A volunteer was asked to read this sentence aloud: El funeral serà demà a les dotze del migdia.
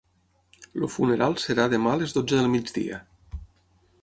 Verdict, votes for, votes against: rejected, 3, 6